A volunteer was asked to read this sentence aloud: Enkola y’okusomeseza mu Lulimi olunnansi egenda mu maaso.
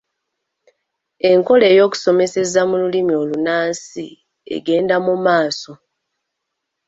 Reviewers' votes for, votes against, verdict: 2, 3, rejected